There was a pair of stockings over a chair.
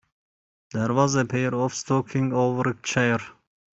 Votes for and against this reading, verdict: 1, 2, rejected